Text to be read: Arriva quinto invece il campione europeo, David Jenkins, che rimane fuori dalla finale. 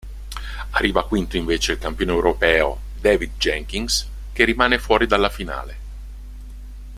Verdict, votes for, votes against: accepted, 2, 0